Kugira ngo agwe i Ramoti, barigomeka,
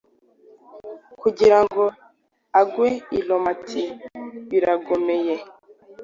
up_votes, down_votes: 2, 1